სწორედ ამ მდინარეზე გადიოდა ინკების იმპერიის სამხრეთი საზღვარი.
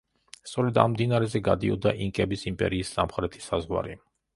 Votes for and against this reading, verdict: 2, 0, accepted